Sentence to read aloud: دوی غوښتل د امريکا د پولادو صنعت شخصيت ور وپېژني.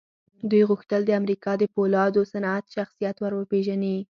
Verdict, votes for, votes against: accepted, 4, 0